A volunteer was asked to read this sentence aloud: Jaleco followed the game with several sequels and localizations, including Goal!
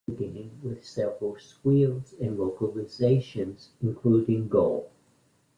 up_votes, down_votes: 0, 2